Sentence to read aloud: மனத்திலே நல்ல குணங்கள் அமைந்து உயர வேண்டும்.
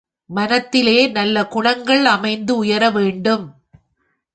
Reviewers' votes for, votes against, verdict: 3, 0, accepted